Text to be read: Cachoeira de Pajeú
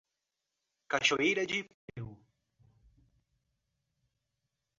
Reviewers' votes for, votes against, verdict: 0, 2, rejected